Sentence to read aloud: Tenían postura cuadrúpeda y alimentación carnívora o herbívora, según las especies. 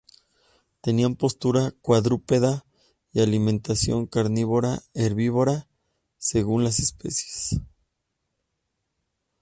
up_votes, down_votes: 2, 0